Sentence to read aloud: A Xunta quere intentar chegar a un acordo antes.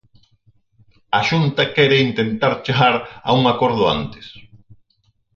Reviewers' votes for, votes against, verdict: 4, 0, accepted